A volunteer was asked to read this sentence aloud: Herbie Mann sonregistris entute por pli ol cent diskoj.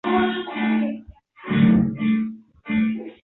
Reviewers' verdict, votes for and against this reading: rejected, 0, 2